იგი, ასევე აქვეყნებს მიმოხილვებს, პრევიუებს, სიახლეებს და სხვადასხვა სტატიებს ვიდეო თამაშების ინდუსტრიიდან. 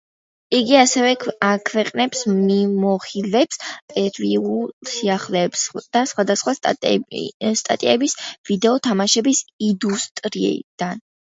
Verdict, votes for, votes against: rejected, 0, 2